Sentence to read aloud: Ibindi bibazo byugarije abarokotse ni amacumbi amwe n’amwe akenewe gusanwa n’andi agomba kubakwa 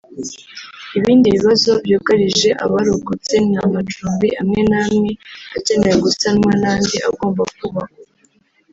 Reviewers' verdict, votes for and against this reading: accepted, 3, 1